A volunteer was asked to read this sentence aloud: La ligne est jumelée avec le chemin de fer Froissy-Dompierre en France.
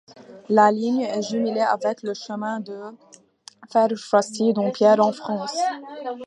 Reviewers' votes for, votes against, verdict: 0, 2, rejected